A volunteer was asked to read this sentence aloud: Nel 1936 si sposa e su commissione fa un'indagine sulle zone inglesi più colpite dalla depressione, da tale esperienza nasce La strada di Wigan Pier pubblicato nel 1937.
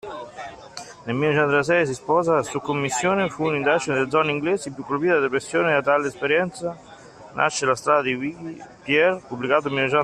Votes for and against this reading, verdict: 0, 2, rejected